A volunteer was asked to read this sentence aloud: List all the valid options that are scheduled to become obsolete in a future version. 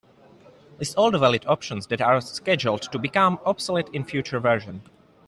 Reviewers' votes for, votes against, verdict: 1, 2, rejected